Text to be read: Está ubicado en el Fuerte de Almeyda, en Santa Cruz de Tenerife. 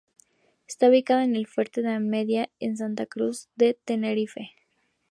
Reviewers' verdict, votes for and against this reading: rejected, 0, 2